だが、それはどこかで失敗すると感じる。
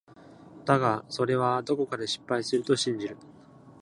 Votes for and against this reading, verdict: 1, 2, rejected